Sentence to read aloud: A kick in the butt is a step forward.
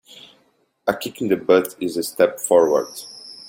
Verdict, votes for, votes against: accepted, 2, 0